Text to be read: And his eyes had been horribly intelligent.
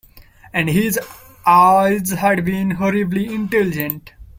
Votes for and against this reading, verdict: 0, 2, rejected